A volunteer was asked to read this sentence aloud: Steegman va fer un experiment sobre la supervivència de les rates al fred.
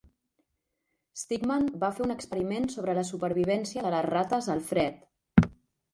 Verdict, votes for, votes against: rejected, 1, 2